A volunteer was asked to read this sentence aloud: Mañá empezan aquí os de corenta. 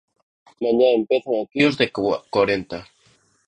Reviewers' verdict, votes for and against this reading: rejected, 0, 2